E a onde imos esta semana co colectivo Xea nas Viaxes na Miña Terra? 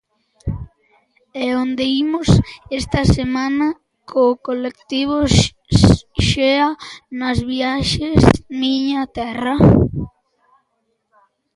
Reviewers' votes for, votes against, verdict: 1, 2, rejected